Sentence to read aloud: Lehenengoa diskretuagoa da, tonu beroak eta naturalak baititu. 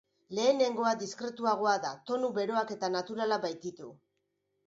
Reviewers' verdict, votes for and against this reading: accepted, 2, 0